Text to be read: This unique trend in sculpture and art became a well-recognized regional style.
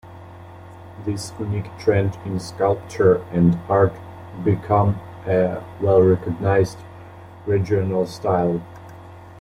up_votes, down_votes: 1, 2